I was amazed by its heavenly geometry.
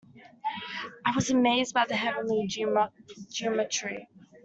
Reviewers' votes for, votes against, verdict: 0, 2, rejected